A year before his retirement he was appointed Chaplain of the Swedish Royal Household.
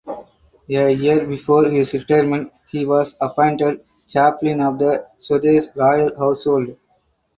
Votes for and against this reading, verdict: 4, 0, accepted